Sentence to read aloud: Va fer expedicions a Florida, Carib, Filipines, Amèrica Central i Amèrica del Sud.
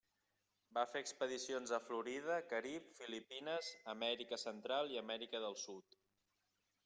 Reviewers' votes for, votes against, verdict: 3, 0, accepted